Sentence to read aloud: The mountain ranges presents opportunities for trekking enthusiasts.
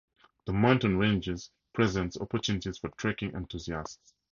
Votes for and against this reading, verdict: 4, 0, accepted